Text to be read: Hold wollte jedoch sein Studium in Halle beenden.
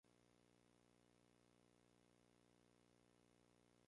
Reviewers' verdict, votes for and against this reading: rejected, 0, 2